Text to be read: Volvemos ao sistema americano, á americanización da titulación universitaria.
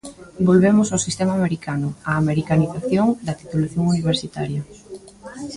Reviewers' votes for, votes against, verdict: 3, 0, accepted